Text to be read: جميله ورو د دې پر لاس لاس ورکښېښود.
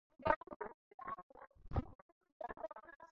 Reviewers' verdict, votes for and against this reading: rejected, 2, 4